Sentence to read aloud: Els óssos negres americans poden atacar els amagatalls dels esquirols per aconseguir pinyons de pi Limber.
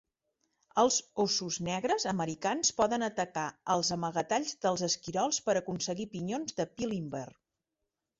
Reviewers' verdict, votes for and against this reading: accepted, 2, 0